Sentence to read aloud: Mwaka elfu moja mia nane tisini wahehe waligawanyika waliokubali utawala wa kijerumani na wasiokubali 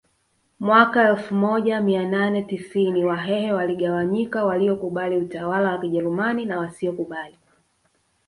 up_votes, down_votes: 2, 0